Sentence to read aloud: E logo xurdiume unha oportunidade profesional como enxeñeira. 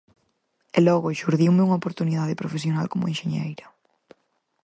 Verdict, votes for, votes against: accepted, 4, 0